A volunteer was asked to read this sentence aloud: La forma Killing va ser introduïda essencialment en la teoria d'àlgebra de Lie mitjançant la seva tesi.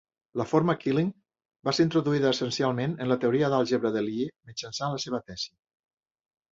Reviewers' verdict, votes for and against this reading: rejected, 1, 2